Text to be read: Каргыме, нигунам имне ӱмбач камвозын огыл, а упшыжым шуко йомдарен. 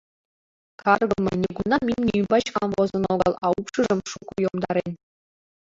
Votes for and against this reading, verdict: 2, 0, accepted